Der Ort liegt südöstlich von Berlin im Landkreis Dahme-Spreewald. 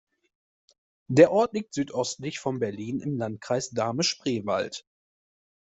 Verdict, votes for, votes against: accepted, 2, 0